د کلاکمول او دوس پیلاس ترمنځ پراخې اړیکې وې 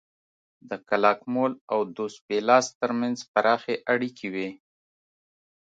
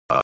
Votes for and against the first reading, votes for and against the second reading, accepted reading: 4, 0, 1, 2, first